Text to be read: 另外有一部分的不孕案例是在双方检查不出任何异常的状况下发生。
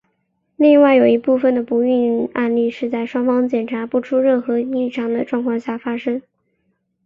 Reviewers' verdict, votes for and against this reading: accepted, 3, 0